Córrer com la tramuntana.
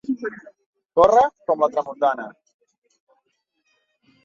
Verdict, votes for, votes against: accepted, 2, 0